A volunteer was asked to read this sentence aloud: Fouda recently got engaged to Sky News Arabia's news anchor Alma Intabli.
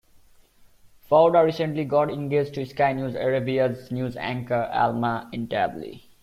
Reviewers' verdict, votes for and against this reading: accepted, 2, 1